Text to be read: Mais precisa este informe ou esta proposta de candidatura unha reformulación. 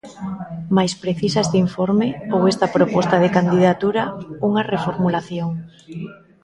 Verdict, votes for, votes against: accepted, 2, 0